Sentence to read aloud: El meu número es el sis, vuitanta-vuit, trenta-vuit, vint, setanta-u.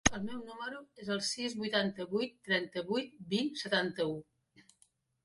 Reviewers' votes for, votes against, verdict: 1, 2, rejected